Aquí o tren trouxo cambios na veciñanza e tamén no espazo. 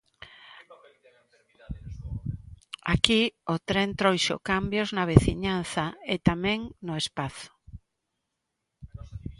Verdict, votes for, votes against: accepted, 2, 0